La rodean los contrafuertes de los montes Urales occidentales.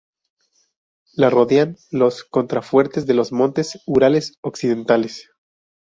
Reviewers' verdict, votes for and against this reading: rejected, 0, 2